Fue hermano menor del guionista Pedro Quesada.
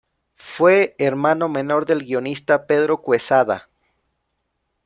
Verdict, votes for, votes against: rejected, 1, 2